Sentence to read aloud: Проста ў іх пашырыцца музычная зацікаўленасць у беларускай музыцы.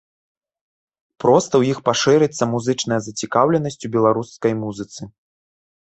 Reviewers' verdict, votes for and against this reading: accepted, 2, 0